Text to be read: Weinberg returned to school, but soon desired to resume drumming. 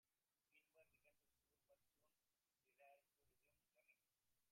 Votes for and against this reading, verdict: 0, 3, rejected